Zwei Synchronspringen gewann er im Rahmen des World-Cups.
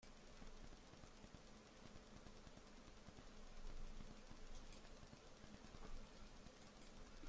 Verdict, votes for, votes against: rejected, 0, 2